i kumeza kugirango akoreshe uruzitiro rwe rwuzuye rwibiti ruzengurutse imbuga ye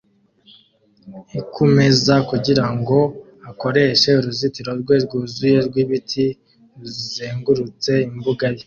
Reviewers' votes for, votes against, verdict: 2, 0, accepted